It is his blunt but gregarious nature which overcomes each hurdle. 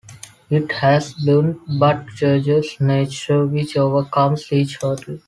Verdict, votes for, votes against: rejected, 0, 2